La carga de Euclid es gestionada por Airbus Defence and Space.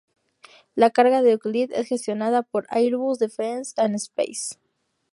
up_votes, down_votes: 4, 0